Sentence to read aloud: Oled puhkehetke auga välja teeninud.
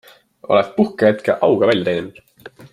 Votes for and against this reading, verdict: 2, 0, accepted